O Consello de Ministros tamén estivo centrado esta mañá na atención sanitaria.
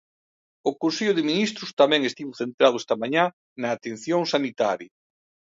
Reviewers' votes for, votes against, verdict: 2, 0, accepted